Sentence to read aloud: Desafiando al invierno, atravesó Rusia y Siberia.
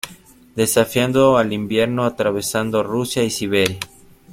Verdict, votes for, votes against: rejected, 0, 2